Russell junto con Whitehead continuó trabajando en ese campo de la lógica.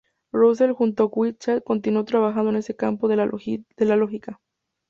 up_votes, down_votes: 2, 0